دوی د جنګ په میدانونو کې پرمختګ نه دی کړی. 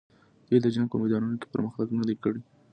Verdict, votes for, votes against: accepted, 2, 0